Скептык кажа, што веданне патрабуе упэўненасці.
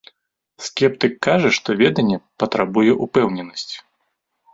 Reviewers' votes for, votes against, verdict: 3, 0, accepted